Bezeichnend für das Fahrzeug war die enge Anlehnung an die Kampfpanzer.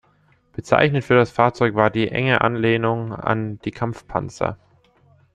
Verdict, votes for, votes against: accepted, 2, 0